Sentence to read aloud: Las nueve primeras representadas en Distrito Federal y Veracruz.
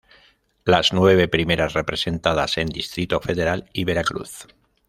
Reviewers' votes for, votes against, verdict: 2, 1, accepted